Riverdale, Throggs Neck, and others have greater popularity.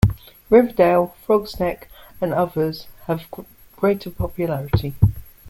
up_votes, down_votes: 2, 1